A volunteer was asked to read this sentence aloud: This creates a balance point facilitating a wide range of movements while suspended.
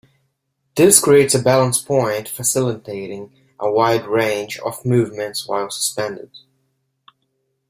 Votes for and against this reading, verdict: 2, 0, accepted